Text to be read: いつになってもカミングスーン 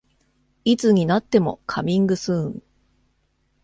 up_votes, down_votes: 2, 0